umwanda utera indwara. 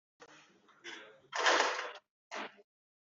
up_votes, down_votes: 0, 3